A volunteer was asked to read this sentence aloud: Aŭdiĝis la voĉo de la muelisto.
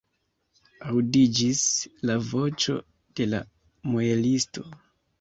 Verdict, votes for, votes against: accepted, 2, 0